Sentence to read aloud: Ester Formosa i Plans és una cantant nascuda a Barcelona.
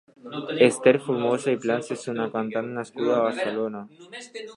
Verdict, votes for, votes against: accepted, 2, 0